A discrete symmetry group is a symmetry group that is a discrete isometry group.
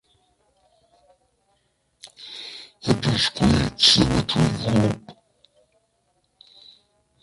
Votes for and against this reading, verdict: 0, 2, rejected